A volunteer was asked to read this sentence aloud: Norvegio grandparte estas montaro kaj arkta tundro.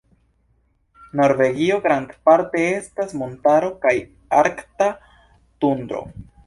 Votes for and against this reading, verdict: 2, 0, accepted